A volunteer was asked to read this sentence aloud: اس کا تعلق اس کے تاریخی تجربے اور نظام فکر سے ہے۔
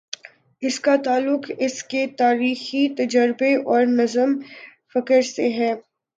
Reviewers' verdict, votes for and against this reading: rejected, 0, 3